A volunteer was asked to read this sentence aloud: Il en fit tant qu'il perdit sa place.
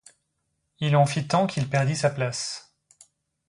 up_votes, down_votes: 2, 0